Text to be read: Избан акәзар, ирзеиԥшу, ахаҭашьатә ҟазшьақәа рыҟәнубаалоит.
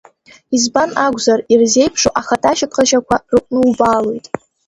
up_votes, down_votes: 0, 2